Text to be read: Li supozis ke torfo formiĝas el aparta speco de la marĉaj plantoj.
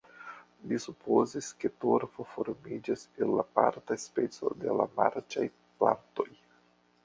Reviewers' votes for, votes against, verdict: 1, 2, rejected